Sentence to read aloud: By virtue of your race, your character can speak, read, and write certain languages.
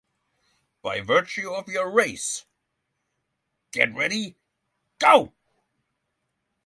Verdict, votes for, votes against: rejected, 0, 6